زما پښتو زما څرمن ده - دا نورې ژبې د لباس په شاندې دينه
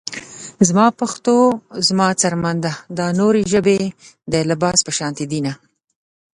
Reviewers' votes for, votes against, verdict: 1, 2, rejected